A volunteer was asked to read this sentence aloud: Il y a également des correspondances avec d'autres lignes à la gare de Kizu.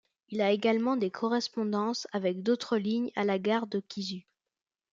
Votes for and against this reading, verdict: 0, 2, rejected